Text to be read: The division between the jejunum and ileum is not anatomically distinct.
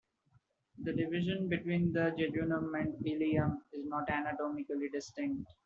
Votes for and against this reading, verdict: 0, 2, rejected